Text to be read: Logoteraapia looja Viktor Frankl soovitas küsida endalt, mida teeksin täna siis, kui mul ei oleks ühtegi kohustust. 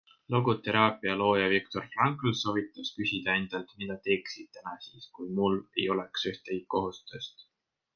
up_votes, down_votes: 2, 0